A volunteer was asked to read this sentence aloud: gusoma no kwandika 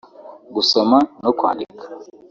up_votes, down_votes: 2, 1